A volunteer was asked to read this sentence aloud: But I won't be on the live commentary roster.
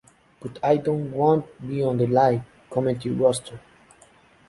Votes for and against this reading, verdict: 2, 1, accepted